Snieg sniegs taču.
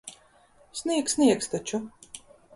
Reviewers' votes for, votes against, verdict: 2, 0, accepted